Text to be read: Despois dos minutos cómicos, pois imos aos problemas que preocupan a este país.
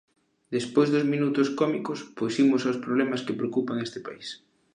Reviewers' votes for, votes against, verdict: 2, 1, accepted